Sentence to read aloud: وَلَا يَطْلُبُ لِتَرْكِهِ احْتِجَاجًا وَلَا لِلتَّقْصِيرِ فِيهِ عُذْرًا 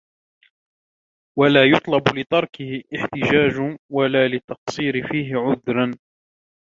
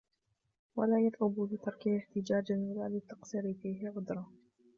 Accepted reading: first